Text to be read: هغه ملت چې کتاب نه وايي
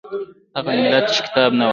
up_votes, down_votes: 1, 2